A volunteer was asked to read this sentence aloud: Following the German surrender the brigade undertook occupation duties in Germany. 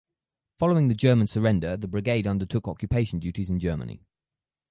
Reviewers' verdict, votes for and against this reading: accepted, 4, 0